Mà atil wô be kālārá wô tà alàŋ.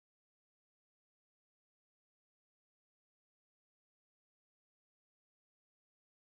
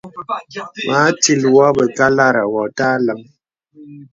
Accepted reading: second